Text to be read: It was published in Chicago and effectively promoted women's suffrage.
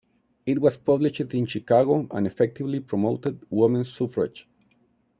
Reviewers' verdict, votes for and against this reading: rejected, 0, 2